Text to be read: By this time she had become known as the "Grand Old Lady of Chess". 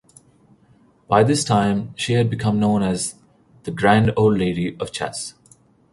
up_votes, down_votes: 2, 0